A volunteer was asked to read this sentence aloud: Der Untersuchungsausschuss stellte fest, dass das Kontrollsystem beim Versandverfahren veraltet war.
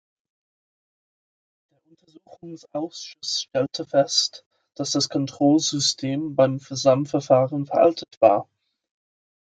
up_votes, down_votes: 1, 2